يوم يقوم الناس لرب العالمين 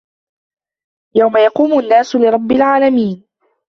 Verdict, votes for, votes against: accepted, 2, 0